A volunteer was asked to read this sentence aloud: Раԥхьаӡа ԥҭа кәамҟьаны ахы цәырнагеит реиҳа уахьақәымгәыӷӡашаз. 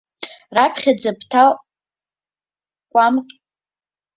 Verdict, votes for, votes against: rejected, 0, 2